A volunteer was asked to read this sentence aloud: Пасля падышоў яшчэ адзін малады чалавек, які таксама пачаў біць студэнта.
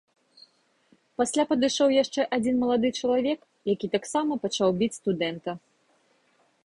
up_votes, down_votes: 2, 0